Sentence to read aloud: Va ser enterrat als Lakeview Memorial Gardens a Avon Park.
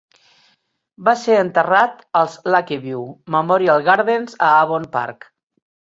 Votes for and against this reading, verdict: 2, 0, accepted